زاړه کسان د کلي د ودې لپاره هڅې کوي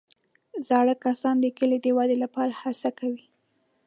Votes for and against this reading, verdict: 1, 2, rejected